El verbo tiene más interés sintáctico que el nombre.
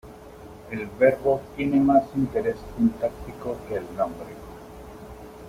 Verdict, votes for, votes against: rejected, 1, 2